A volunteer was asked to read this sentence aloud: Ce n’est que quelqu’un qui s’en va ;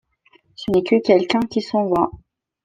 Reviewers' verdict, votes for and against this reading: accepted, 2, 0